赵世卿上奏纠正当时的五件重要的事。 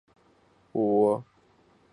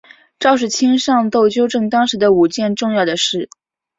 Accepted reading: second